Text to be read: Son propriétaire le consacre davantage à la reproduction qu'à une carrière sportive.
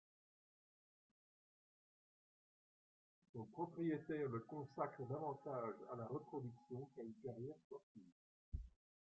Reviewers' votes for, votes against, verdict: 2, 1, accepted